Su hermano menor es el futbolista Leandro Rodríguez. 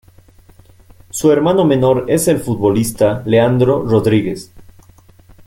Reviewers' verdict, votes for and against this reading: accepted, 2, 0